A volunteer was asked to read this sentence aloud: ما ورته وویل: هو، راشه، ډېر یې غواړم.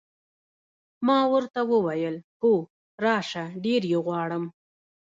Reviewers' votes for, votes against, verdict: 1, 2, rejected